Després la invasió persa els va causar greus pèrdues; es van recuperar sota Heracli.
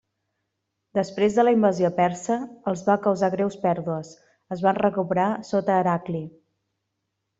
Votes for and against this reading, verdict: 0, 2, rejected